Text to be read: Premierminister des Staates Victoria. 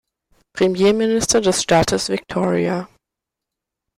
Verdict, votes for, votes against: accepted, 2, 0